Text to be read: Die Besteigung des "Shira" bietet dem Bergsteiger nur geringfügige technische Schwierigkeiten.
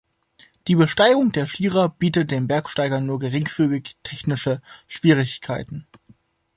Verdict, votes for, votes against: rejected, 0, 2